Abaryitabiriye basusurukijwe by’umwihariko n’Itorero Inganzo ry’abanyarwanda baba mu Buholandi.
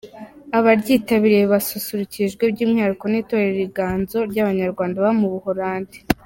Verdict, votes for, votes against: accepted, 2, 0